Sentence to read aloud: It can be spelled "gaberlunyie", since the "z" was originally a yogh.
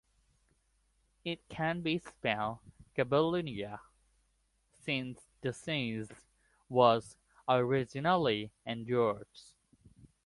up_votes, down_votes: 0, 2